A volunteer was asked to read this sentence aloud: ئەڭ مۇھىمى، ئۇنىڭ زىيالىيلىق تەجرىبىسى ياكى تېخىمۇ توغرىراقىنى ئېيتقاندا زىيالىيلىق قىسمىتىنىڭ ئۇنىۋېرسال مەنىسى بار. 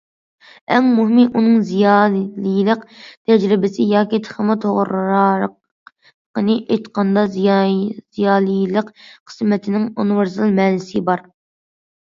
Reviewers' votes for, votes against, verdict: 0, 2, rejected